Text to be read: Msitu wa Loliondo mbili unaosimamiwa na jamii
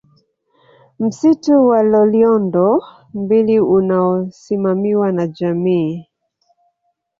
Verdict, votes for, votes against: accepted, 2, 0